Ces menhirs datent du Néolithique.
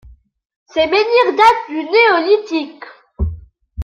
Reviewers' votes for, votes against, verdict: 2, 0, accepted